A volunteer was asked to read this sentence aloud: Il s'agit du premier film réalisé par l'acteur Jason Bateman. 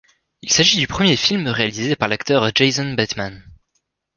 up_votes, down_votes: 2, 0